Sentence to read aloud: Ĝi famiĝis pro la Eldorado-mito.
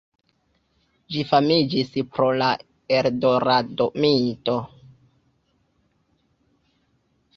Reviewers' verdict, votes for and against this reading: accepted, 2, 1